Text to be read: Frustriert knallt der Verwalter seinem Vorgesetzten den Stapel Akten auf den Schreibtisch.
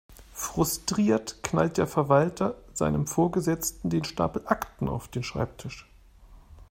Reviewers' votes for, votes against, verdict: 2, 0, accepted